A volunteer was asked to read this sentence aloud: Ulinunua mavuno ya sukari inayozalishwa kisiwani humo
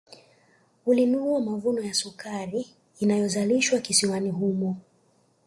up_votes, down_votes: 2, 0